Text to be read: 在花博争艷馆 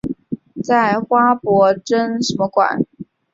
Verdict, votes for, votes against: rejected, 0, 5